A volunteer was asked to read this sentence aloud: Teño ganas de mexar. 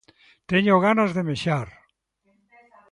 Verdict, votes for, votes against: accepted, 2, 1